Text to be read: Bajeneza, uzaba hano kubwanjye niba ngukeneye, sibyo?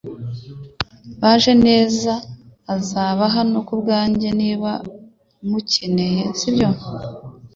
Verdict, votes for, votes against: rejected, 0, 2